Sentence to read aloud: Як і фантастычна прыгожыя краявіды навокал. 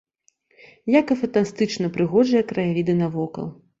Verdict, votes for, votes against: rejected, 1, 2